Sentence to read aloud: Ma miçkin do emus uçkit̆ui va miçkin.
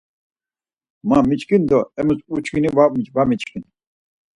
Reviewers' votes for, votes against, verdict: 2, 4, rejected